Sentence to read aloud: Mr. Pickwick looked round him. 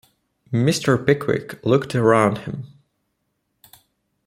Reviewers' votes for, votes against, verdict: 1, 2, rejected